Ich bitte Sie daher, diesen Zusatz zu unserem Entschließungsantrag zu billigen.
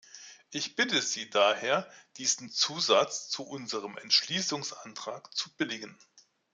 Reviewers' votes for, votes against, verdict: 2, 0, accepted